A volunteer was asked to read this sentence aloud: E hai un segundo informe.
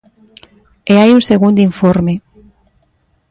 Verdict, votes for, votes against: accepted, 2, 0